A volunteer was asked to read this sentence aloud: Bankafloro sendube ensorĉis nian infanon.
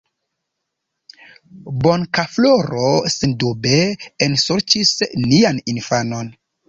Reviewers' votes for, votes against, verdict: 0, 2, rejected